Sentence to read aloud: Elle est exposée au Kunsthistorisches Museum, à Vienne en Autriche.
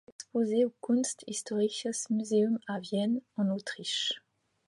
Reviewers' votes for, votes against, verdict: 1, 2, rejected